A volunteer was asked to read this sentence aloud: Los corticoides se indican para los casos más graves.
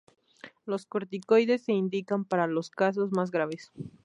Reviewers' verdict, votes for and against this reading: accepted, 2, 0